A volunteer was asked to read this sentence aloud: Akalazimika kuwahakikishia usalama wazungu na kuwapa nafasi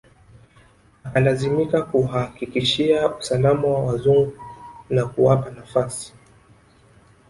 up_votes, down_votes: 0, 2